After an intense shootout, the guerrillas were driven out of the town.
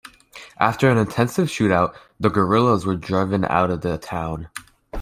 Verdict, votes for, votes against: rejected, 1, 2